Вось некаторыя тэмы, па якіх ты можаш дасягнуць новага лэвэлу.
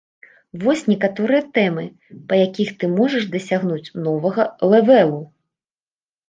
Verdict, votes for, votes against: rejected, 1, 2